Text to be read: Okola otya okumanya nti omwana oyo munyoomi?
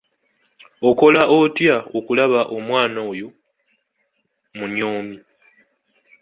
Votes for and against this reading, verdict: 1, 2, rejected